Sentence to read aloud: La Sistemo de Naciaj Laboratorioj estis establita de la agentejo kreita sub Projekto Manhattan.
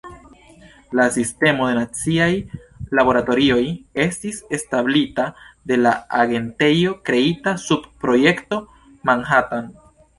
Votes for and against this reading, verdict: 0, 2, rejected